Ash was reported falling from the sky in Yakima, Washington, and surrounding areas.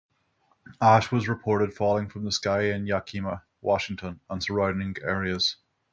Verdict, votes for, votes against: accepted, 6, 0